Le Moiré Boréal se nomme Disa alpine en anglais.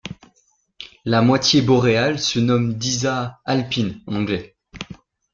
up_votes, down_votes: 1, 2